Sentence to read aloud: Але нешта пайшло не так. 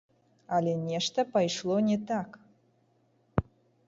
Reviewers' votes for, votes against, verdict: 0, 2, rejected